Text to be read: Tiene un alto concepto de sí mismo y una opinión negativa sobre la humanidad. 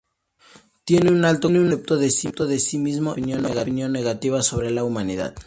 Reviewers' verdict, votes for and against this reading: rejected, 0, 2